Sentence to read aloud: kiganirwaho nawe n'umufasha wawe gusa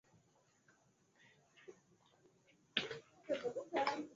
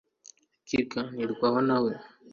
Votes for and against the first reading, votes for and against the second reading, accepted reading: 2, 1, 1, 2, first